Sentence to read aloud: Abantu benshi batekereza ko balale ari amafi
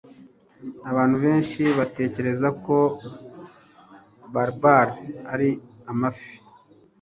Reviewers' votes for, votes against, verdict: 1, 2, rejected